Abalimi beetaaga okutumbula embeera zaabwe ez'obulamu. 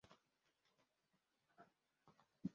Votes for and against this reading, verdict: 1, 2, rejected